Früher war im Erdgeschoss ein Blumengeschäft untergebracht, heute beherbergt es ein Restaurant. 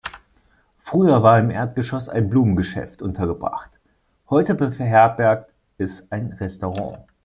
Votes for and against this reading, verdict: 1, 2, rejected